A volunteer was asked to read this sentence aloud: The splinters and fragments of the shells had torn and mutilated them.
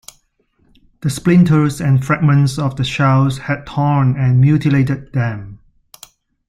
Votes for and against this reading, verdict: 2, 0, accepted